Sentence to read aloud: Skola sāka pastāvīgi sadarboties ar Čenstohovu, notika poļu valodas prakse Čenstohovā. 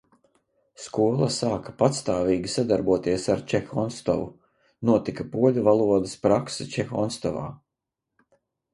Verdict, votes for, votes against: rejected, 0, 2